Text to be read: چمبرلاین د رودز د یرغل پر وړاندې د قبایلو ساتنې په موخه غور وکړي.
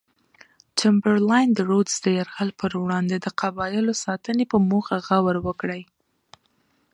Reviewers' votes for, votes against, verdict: 2, 0, accepted